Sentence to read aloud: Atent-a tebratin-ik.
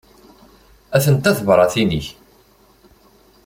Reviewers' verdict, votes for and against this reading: accepted, 2, 0